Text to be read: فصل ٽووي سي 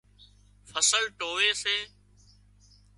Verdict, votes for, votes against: accepted, 2, 0